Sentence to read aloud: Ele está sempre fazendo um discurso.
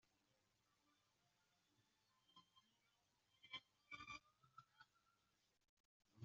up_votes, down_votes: 0, 2